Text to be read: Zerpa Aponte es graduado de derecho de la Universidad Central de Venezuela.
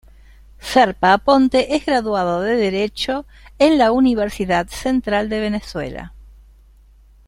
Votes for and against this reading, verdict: 1, 2, rejected